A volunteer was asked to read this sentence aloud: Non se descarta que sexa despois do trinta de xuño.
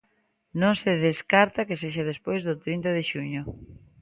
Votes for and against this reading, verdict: 2, 0, accepted